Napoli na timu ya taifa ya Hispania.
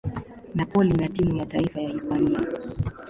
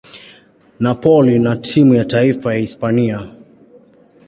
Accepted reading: second